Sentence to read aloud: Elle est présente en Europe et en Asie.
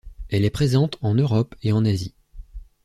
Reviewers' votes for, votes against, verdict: 2, 0, accepted